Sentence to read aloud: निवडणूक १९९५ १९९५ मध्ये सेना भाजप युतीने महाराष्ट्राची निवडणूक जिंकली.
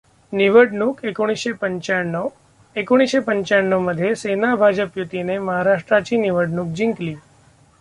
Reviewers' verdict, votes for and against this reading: rejected, 0, 2